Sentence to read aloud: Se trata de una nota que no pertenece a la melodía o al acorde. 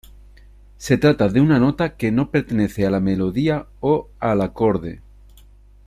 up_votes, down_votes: 2, 0